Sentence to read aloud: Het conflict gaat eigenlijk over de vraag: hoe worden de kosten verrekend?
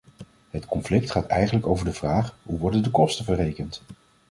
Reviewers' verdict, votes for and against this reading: accepted, 2, 0